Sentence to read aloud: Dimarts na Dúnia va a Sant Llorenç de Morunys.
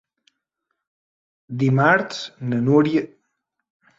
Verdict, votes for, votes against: rejected, 1, 2